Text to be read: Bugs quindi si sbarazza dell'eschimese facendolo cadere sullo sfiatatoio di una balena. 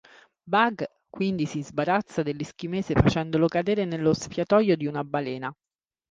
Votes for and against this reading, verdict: 0, 2, rejected